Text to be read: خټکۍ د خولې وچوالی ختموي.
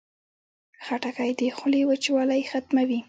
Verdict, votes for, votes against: accepted, 2, 0